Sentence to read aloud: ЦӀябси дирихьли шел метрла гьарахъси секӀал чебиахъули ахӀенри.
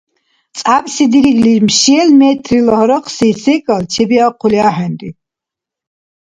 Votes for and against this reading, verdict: 2, 1, accepted